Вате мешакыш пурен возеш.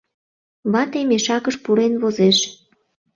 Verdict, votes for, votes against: accepted, 2, 0